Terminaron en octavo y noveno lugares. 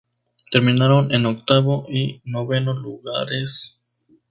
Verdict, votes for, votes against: rejected, 0, 2